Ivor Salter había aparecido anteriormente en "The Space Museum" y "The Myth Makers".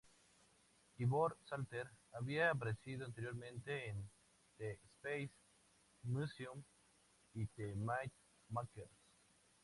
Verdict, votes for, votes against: accepted, 4, 0